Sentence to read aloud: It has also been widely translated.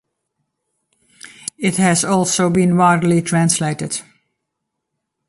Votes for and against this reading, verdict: 2, 0, accepted